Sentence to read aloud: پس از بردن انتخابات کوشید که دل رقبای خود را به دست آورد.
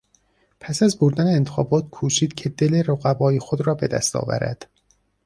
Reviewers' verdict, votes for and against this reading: accepted, 2, 0